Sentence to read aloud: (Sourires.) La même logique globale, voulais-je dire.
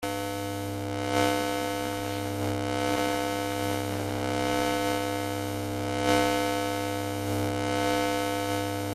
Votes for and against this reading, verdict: 0, 2, rejected